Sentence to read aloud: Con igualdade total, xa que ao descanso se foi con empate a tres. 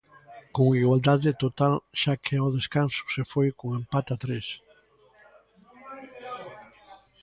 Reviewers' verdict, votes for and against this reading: accepted, 2, 1